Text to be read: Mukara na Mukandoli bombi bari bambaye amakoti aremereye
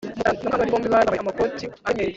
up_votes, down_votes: 1, 2